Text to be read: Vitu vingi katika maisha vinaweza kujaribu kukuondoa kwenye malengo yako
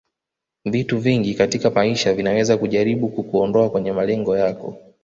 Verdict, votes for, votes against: accepted, 2, 1